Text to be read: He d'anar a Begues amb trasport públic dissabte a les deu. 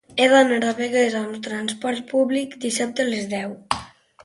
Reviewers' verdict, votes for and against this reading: accepted, 2, 1